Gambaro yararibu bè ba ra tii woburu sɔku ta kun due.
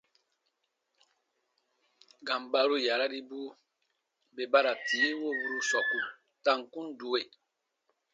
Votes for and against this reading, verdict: 2, 0, accepted